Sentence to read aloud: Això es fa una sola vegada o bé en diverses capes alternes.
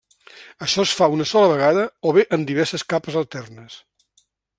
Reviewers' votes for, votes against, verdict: 3, 0, accepted